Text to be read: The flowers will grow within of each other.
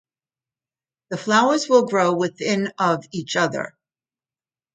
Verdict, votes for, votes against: accepted, 2, 0